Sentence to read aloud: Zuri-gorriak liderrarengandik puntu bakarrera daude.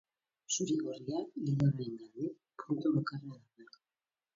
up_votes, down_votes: 2, 4